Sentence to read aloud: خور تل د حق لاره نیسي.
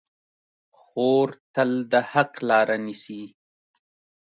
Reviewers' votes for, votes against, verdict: 1, 2, rejected